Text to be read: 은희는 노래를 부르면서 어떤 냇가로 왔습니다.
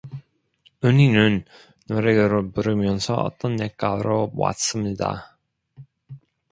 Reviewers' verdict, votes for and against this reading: rejected, 1, 2